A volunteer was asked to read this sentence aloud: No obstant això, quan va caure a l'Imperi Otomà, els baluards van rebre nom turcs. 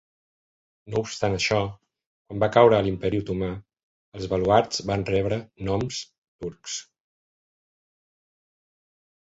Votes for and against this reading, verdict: 1, 2, rejected